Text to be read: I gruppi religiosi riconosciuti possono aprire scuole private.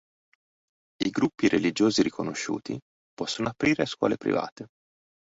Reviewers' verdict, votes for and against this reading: accepted, 3, 0